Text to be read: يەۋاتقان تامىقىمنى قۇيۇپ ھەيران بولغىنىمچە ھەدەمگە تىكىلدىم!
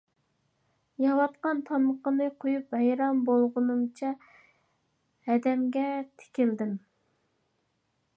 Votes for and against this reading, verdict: 0, 2, rejected